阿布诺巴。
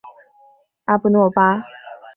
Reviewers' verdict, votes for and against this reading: accepted, 2, 0